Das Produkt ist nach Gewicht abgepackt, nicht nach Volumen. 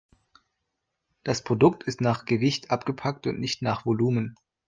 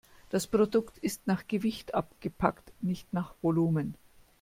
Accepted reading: second